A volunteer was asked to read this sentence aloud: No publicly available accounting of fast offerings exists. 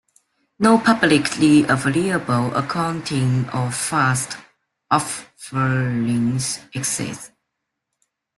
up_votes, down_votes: 2, 0